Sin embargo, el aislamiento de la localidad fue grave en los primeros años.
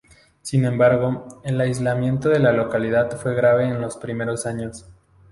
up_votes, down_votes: 0, 2